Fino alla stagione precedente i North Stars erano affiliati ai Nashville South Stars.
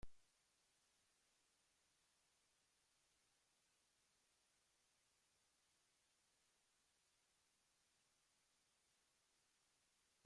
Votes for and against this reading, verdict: 0, 2, rejected